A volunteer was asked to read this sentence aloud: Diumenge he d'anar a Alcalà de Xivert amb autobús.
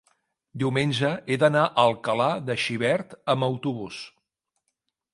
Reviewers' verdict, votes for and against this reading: accepted, 3, 0